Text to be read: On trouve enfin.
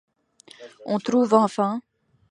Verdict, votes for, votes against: accepted, 2, 1